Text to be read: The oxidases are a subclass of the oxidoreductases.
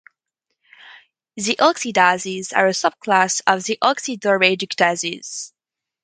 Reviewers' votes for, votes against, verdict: 2, 2, rejected